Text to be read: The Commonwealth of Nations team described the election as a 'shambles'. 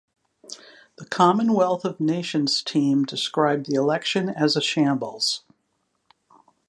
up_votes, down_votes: 2, 0